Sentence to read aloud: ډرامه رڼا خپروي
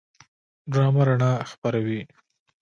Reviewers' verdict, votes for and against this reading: accepted, 2, 0